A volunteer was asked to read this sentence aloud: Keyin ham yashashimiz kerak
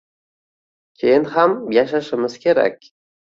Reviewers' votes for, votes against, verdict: 2, 0, accepted